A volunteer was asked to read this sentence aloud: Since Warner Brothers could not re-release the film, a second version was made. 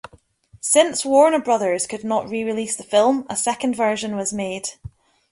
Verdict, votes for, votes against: accepted, 2, 0